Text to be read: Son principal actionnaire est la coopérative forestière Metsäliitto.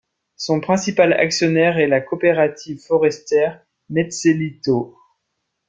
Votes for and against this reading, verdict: 0, 2, rejected